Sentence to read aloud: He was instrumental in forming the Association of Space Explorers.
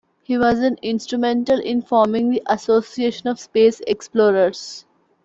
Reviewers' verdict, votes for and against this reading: rejected, 0, 2